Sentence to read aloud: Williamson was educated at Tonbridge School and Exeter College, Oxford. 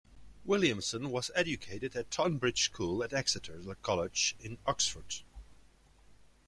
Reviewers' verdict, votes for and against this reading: accepted, 2, 0